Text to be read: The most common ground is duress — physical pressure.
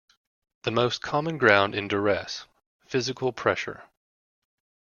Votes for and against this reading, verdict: 1, 2, rejected